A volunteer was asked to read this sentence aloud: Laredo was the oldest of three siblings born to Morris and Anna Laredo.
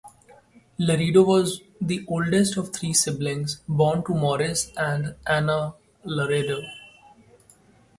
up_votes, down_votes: 2, 0